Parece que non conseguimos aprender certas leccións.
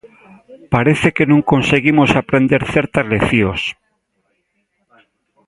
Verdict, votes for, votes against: accepted, 2, 0